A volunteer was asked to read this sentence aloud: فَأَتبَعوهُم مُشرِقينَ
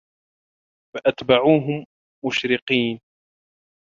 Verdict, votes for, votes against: accepted, 2, 0